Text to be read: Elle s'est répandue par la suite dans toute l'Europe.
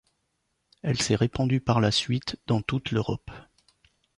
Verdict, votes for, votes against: accepted, 2, 0